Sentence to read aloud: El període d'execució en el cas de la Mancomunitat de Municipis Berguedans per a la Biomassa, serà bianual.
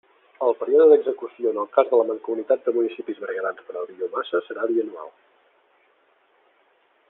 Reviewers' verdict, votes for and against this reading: accepted, 2, 0